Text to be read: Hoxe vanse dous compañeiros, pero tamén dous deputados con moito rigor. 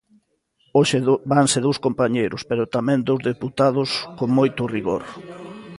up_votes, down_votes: 0, 2